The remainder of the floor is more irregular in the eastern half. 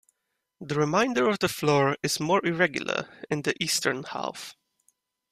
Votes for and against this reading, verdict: 2, 1, accepted